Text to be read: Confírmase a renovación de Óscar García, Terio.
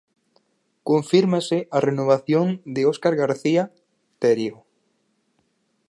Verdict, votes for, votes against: accepted, 4, 0